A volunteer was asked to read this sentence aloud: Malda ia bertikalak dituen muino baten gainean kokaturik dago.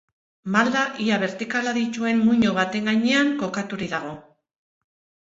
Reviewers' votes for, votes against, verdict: 0, 2, rejected